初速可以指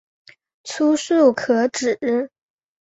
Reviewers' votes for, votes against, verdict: 0, 2, rejected